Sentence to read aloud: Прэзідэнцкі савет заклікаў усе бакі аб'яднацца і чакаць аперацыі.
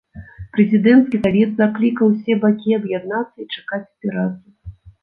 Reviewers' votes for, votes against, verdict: 1, 2, rejected